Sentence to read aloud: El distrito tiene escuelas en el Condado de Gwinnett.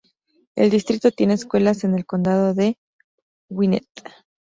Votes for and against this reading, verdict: 0, 2, rejected